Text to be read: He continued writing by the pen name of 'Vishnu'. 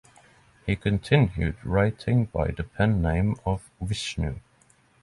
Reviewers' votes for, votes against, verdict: 6, 0, accepted